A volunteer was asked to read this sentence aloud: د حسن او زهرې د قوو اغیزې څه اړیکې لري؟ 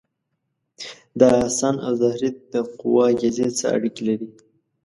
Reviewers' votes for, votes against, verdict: 1, 2, rejected